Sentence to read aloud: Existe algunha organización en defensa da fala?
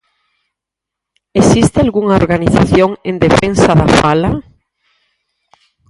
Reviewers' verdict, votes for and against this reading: accepted, 4, 0